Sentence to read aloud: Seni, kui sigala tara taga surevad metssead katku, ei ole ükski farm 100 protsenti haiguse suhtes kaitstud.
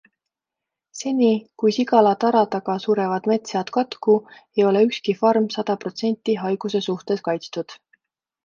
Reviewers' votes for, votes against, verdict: 0, 2, rejected